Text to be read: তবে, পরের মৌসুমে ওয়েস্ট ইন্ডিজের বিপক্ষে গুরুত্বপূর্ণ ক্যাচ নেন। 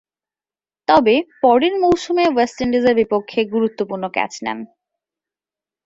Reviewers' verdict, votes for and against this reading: accepted, 2, 0